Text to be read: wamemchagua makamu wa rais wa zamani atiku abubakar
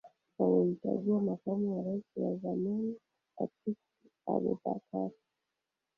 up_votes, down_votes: 1, 2